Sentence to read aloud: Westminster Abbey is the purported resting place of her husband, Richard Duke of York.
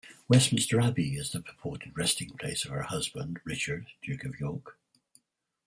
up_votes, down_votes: 4, 2